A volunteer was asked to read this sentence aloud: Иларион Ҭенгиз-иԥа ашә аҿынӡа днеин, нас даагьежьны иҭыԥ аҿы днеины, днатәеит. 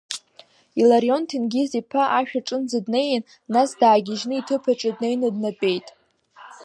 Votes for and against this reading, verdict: 1, 2, rejected